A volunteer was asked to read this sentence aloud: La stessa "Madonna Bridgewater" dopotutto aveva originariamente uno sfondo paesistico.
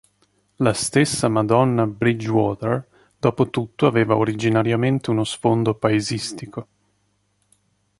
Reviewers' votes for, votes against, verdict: 2, 0, accepted